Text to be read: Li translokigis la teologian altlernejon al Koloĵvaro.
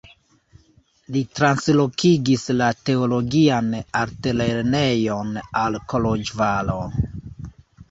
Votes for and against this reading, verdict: 1, 2, rejected